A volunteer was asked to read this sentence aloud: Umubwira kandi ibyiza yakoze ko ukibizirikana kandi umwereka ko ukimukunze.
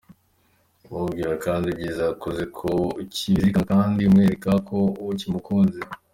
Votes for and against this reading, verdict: 2, 0, accepted